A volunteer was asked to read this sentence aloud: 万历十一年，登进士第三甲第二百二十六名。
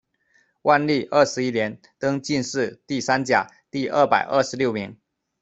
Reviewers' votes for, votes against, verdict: 0, 2, rejected